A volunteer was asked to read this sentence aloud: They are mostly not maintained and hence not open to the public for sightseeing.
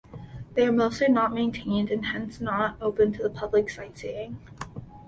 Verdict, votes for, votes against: rejected, 1, 2